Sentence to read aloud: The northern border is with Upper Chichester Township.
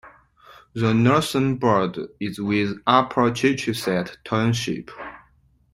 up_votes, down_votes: 1, 2